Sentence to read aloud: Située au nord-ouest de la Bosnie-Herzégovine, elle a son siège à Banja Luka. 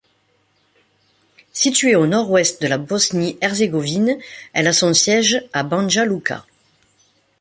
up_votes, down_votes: 3, 0